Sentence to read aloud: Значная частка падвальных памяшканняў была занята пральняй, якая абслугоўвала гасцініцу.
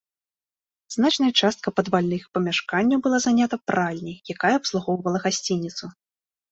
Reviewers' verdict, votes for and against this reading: accepted, 2, 0